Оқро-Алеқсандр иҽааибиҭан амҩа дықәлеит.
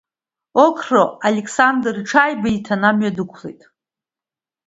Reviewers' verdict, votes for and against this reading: accepted, 2, 1